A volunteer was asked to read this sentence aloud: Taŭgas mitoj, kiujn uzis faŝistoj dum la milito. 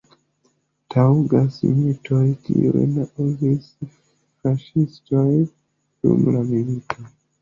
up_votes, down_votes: 2, 0